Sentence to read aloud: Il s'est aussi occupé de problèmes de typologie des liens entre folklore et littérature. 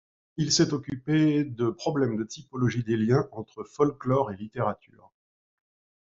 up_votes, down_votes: 1, 2